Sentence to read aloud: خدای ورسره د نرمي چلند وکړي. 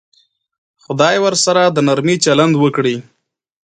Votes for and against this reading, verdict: 2, 1, accepted